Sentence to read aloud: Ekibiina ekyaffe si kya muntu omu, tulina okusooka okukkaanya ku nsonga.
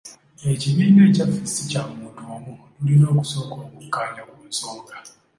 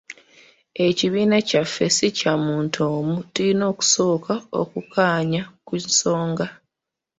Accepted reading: first